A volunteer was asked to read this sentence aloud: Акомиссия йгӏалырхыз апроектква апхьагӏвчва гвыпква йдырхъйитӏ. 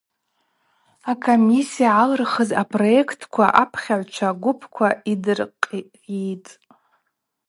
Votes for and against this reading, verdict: 4, 0, accepted